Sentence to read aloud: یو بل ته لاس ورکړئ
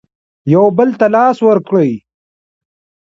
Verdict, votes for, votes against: accepted, 3, 2